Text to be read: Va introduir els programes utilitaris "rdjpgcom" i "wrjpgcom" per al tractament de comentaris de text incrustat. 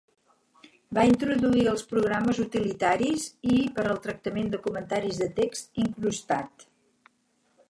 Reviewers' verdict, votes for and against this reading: rejected, 0, 4